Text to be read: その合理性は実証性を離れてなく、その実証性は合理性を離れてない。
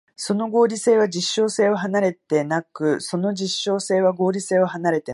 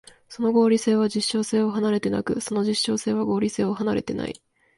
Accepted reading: second